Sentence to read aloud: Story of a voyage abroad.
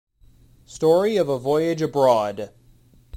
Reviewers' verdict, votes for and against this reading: accepted, 2, 0